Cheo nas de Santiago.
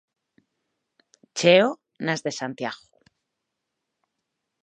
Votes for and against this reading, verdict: 4, 0, accepted